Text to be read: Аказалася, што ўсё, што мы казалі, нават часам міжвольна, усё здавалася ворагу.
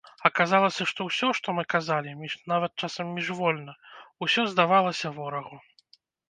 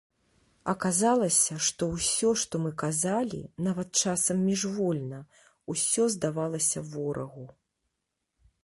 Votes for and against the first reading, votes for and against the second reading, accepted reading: 0, 2, 2, 0, second